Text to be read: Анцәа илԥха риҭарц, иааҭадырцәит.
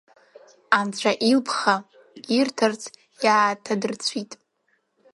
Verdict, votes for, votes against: rejected, 0, 2